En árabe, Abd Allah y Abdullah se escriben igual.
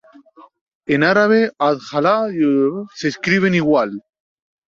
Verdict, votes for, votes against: rejected, 2, 2